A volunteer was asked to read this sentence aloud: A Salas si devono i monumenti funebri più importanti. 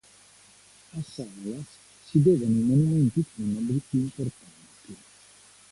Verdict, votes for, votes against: accepted, 2, 1